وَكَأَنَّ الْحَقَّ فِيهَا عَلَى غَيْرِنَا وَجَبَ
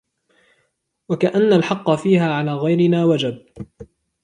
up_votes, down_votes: 2, 0